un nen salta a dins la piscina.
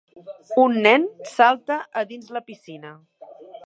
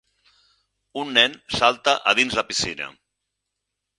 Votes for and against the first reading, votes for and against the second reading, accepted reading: 1, 2, 6, 0, second